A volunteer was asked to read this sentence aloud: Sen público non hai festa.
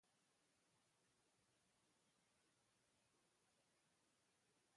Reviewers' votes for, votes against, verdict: 0, 2, rejected